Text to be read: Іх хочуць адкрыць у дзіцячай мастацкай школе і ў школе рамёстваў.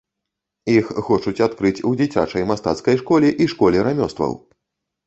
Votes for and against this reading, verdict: 0, 2, rejected